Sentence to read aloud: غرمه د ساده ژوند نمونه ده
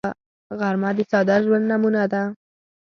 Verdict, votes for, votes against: accepted, 2, 0